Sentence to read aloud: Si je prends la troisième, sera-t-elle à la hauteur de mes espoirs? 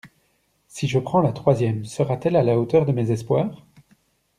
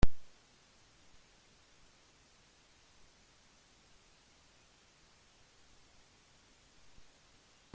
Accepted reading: first